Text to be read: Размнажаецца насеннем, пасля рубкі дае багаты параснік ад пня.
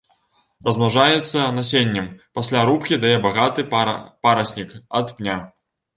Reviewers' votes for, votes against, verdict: 1, 2, rejected